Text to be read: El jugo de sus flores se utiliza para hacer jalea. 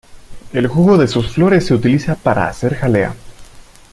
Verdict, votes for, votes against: accepted, 2, 0